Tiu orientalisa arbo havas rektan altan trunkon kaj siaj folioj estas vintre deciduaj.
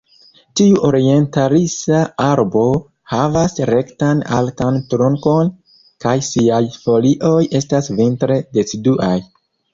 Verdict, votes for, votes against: rejected, 1, 2